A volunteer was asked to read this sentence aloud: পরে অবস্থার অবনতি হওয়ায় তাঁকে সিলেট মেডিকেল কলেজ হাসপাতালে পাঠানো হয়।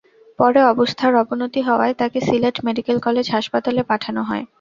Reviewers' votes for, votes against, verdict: 2, 0, accepted